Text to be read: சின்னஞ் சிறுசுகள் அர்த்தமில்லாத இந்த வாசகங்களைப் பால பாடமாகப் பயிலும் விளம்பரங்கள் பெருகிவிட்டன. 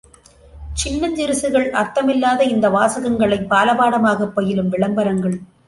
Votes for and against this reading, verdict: 0, 2, rejected